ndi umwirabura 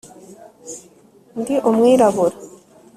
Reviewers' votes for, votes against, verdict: 2, 0, accepted